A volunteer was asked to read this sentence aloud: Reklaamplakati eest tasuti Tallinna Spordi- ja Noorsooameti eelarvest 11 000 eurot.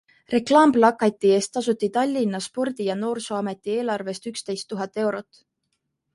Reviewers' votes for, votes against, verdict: 0, 2, rejected